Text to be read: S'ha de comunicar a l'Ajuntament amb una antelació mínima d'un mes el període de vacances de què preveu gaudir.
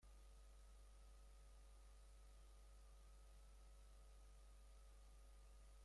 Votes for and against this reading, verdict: 0, 2, rejected